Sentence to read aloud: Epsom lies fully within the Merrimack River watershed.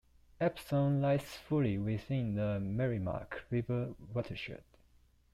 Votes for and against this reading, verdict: 2, 1, accepted